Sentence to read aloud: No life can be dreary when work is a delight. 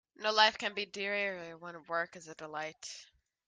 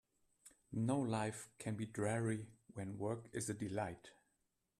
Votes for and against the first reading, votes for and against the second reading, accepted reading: 1, 2, 2, 1, second